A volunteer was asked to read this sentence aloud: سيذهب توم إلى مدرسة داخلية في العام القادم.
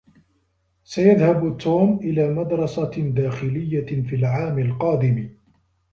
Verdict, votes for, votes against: accepted, 2, 0